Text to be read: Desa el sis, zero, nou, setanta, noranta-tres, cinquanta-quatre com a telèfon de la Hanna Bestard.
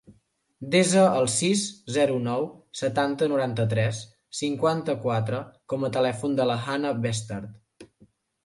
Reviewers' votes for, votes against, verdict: 2, 0, accepted